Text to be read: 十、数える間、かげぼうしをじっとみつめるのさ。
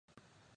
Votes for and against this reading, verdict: 0, 2, rejected